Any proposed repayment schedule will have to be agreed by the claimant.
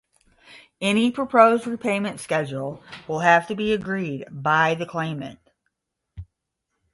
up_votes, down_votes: 0, 5